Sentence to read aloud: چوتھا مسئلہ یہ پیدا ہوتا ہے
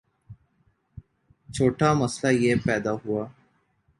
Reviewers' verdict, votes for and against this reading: rejected, 0, 2